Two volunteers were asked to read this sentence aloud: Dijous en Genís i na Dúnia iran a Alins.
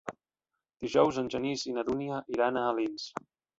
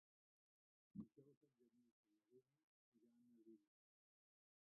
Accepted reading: first